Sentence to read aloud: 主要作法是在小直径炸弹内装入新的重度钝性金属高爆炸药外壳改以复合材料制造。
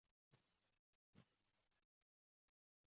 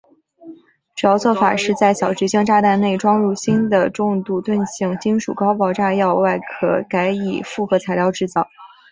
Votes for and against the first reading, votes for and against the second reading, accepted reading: 0, 2, 3, 0, second